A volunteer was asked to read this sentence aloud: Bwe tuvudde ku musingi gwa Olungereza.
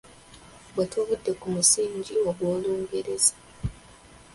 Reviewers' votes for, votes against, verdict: 2, 0, accepted